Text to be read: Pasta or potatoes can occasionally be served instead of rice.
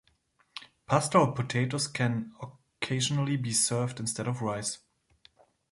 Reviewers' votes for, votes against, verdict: 2, 0, accepted